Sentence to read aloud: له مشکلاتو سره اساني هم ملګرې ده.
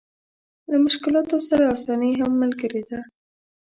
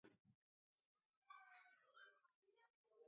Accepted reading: first